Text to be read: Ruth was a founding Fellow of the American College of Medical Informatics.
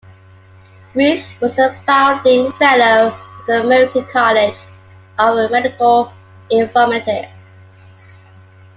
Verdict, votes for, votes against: accepted, 2, 0